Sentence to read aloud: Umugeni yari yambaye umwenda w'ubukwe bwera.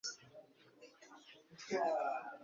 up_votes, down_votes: 0, 2